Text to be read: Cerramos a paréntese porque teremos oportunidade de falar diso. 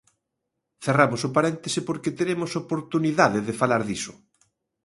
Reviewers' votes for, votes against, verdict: 0, 2, rejected